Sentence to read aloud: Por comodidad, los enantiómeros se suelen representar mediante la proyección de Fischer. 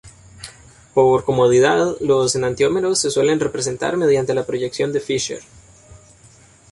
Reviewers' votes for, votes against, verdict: 2, 0, accepted